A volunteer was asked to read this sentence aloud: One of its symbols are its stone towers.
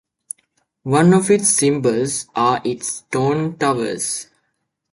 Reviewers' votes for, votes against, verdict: 2, 1, accepted